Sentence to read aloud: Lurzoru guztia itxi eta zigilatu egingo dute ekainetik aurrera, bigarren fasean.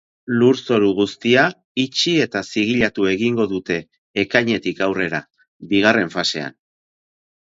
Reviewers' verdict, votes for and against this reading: accepted, 2, 0